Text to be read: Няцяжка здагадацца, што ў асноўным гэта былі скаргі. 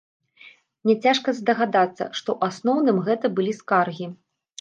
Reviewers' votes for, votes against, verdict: 2, 0, accepted